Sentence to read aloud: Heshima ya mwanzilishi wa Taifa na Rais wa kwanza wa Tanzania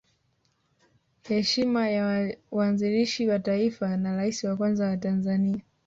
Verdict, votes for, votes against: accepted, 2, 0